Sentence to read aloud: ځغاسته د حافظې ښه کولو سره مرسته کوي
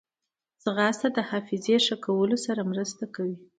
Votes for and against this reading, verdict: 1, 2, rejected